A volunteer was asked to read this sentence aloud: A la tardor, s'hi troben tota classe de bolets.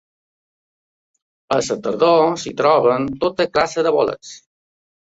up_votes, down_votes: 0, 2